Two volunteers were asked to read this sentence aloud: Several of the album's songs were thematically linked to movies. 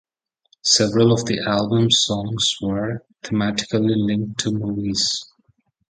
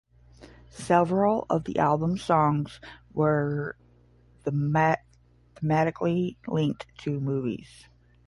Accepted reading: first